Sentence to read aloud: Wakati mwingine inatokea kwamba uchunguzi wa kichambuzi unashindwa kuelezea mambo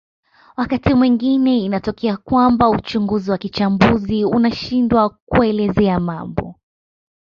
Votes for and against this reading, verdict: 0, 2, rejected